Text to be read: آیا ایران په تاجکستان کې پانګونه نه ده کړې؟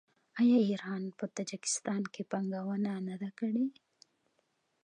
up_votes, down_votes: 2, 0